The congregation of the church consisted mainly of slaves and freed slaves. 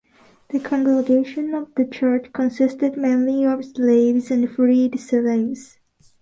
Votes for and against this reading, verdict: 2, 0, accepted